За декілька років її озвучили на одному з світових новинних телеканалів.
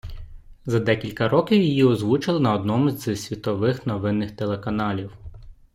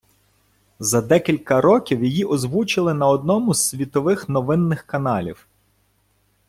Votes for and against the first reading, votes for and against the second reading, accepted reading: 2, 1, 0, 2, first